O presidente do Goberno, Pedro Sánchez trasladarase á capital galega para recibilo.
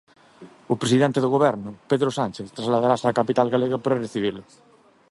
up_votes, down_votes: 2, 0